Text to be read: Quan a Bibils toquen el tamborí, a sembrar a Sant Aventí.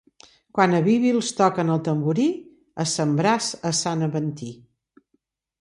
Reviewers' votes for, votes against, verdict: 3, 0, accepted